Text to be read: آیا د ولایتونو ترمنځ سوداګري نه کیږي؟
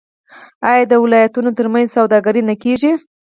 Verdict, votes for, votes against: rejected, 0, 4